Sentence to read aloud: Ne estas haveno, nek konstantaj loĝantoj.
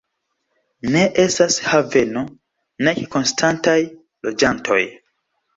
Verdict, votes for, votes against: rejected, 0, 2